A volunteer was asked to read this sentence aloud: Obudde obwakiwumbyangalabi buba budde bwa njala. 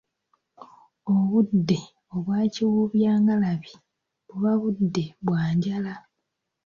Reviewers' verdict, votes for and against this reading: accepted, 2, 0